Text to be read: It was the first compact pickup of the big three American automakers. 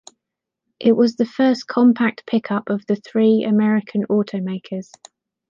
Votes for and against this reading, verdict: 0, 2, rejected